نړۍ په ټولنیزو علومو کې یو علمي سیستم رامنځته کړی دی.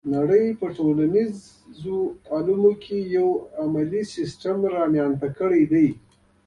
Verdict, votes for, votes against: accepted, 2, 1